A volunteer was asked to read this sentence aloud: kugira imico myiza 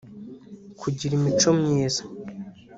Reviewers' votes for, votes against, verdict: 1, 2, rejected